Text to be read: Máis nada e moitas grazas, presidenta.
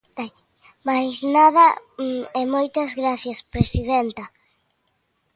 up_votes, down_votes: 0, 2